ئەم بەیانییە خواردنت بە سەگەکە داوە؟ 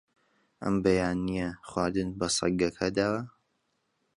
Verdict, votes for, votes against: accepted, 2, 0